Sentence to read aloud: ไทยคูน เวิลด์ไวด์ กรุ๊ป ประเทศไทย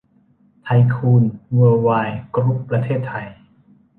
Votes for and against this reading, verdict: 2, 0, accepted